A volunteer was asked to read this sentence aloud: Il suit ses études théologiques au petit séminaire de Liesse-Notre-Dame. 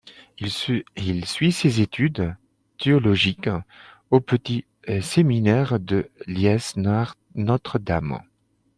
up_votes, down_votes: 0, 2